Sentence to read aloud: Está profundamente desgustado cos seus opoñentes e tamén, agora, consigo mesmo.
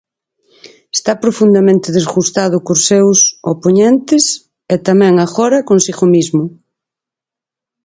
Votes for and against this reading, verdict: 2, 4, rejected